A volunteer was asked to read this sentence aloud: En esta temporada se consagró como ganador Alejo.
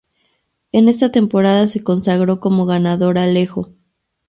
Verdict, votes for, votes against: accepted, 2, 0